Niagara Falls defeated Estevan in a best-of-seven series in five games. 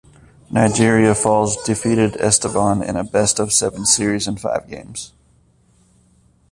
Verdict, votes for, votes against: rejected, 0, 2